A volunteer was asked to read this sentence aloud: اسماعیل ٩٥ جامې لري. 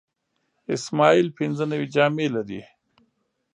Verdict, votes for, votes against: rejected, 0, 2